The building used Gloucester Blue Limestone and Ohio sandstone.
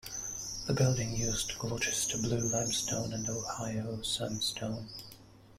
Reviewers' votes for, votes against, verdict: 1, 2, rejected